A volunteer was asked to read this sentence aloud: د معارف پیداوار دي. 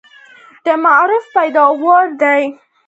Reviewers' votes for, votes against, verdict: 2, 0, accepted